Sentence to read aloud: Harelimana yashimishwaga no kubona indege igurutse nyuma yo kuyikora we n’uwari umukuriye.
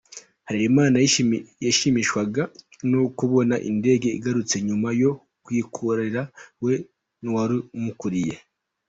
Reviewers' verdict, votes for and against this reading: rejected, 0, 2